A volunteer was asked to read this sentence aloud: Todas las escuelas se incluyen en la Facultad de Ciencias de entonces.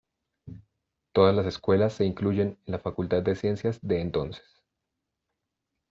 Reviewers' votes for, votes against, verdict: 2, 0, accepted